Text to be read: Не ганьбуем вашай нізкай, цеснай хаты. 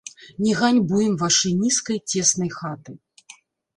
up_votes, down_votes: 2, 0